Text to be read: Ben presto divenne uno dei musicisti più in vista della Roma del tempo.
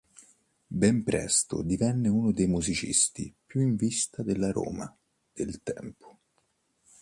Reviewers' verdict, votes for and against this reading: accepted, 3, 0